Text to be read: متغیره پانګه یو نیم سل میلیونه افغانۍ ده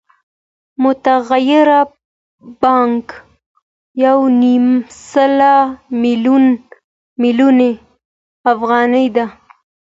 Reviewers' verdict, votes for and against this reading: accepted, 2, 0